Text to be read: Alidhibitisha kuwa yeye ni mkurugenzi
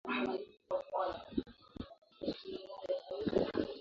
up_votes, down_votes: 0, 2